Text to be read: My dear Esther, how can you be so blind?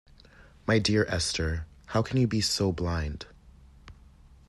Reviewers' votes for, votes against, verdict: 2, 0, accepted